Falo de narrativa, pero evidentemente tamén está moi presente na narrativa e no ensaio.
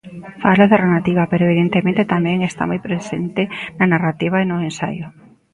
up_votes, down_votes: 0, 2